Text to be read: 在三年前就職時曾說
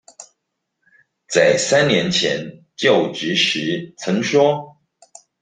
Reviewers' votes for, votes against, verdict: 2, 0, accepted